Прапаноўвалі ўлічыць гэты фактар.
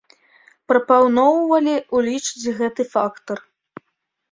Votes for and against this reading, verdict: 1, 2, rejected